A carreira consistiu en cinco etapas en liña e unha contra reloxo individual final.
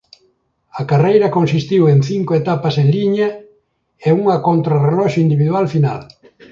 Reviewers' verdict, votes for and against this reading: accepted, 2, 0